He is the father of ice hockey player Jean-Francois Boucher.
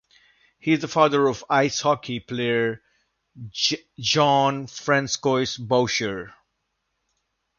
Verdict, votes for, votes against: rejected, 0, 2